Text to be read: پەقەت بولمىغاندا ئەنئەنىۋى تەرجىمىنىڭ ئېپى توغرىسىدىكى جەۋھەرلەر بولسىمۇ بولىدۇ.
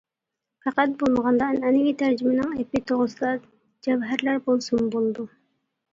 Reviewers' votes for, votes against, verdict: 0, 2, rejected